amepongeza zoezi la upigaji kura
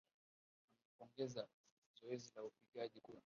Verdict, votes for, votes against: rejected, 0, 2